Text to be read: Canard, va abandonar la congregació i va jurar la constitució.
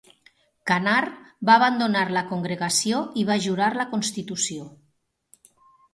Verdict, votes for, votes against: accepted, 3, 0